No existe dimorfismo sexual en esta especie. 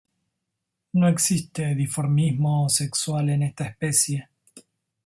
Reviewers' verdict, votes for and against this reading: accepted, 2, 1